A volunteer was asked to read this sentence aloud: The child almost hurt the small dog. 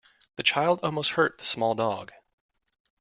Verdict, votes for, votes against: accepted, 2, 0